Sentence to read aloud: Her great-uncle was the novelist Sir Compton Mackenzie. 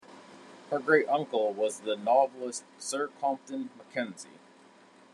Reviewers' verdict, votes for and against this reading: accepted, 2, 0